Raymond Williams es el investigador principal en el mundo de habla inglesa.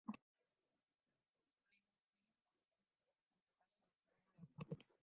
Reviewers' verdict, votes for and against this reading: rejected, 0, 2